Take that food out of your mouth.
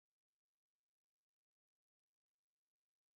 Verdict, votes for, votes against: rejected, 0, 3